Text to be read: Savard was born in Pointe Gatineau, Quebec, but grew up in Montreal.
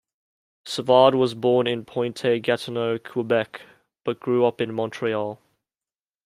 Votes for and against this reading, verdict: 2, 0, accepted